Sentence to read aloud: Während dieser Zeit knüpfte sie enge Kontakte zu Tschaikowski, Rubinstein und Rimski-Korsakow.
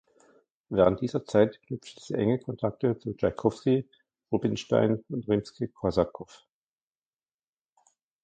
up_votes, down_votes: 2, 0